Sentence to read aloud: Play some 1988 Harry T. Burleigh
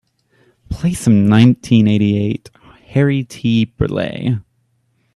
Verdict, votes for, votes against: rejected, 0, 2